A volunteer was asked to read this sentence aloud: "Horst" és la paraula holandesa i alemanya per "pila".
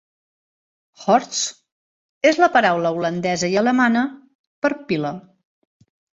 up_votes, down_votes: 0, 2